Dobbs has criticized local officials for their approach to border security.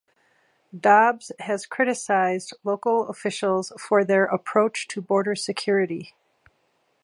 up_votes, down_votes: 2, 0